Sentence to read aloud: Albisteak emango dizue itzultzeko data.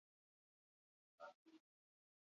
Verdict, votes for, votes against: rejected, 2, 8